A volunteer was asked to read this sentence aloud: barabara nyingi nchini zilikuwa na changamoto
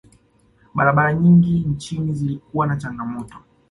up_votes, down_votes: 2, 0